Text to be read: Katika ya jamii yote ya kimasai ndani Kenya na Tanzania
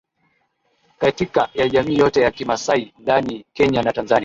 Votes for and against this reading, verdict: 2, 0, accepted